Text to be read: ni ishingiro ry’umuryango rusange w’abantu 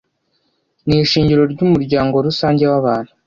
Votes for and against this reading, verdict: 2, 0, accepted